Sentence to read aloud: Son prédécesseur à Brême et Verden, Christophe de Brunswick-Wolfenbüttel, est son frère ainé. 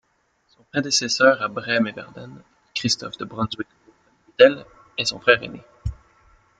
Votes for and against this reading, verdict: 1, 2, rejected